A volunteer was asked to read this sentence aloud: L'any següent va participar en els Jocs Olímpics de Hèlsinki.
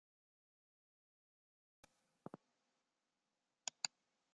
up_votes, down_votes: 0, 2